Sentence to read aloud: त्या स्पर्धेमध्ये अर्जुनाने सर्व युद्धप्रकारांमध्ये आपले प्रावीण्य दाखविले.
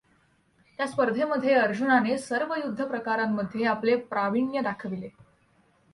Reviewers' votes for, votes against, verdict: 2, 0, accepted